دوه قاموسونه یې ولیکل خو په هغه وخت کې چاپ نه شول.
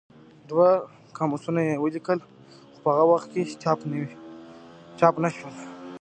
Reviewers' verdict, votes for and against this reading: accepted, 2, 0